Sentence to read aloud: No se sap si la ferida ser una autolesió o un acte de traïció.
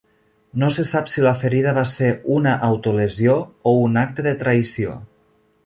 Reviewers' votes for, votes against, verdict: 1, 2, rejected